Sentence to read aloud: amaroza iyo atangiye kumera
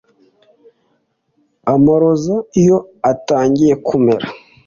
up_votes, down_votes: 2, 0